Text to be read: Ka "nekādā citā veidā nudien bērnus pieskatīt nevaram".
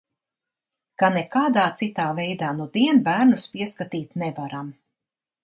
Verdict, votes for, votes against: accepted, 2, 0